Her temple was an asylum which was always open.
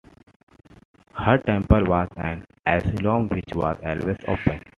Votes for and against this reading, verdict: 2, 1, accepted